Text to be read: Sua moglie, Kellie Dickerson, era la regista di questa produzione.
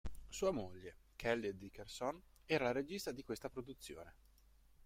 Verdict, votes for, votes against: accepted, 2, 0